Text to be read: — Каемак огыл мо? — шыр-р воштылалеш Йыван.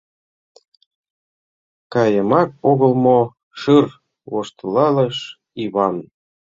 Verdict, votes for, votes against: rejected, 1, 2